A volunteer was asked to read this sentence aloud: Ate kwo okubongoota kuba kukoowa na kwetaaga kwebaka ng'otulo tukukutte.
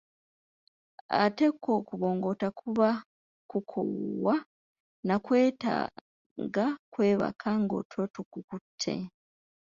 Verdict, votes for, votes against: rejected, 0, 2